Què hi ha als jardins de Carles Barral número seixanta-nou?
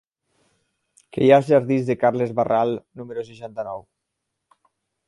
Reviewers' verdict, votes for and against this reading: accepted, 6, 0